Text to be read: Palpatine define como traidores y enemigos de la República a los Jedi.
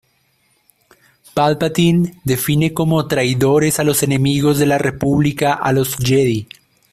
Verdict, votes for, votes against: rejected, 0, 2